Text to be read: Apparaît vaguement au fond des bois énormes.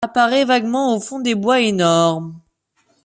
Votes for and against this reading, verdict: 2, 1, accepted